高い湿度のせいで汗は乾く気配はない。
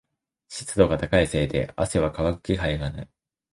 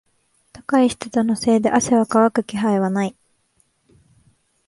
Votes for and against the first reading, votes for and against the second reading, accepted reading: 1, 2, 2, 0, second